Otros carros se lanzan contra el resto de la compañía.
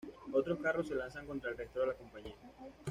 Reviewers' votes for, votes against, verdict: 2, 0, accepted